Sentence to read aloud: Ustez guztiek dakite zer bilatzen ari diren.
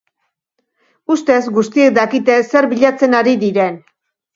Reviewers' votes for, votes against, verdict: 2, 0, accepted